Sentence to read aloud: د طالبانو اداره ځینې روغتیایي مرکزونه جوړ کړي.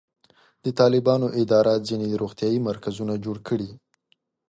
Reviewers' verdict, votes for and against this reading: accepted, 3, 1